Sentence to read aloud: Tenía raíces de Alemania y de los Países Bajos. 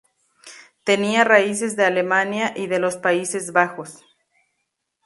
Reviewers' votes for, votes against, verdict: 2, 0, accepted